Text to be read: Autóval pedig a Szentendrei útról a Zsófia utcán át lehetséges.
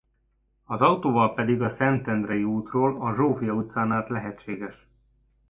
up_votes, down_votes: 1, 2